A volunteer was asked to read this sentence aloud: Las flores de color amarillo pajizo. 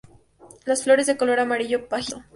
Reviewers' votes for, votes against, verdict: 0, 2, rejected